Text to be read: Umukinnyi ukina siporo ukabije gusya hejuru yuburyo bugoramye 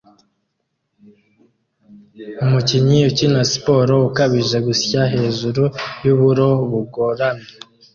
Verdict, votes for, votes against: rejected, 0, 2